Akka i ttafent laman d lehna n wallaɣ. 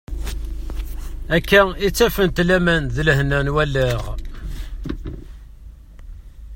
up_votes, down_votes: 0, 2